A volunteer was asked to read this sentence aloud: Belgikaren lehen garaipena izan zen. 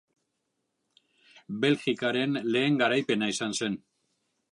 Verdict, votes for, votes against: accepted, 2, 0